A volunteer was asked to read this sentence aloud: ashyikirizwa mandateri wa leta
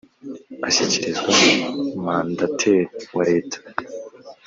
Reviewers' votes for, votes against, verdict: 2, 0, accepted